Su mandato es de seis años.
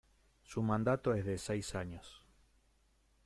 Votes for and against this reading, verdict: 2, 0, accepted